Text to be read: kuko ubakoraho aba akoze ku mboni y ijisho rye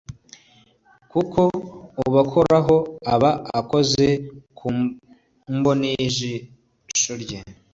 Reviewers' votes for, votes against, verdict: 2, 0, accepted